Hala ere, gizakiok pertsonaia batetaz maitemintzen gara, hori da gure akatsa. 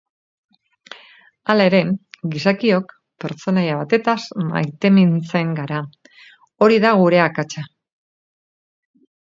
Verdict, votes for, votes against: accepted, 2, 0